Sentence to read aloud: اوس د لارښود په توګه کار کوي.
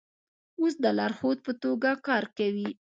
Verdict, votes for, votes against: accepted, 2, 1